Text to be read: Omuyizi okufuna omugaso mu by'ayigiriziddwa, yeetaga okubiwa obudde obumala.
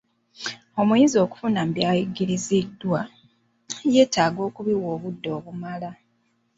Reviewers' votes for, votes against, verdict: 0, 2, rejected